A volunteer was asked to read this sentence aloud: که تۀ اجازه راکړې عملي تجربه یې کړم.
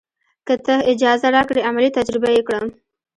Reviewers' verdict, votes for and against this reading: rejected, 1, 2